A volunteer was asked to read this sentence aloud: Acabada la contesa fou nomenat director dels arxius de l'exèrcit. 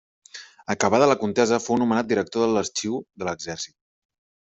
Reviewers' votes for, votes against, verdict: 1, 2, rejected